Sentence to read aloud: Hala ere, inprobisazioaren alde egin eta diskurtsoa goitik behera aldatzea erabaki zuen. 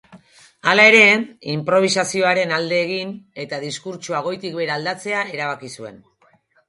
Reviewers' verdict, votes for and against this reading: rejected, 2, 2